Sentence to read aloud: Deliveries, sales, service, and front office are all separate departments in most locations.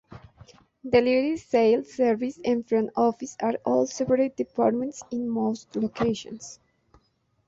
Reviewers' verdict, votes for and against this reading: accepted, 2, 0